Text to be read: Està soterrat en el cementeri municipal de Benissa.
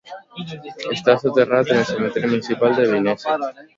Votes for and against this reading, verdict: 0, 2, rejected